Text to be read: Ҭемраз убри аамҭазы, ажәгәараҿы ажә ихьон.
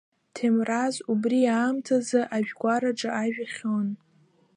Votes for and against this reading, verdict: 2, 0, accepted